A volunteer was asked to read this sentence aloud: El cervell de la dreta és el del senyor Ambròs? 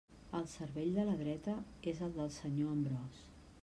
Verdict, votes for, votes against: rejected, 1, 2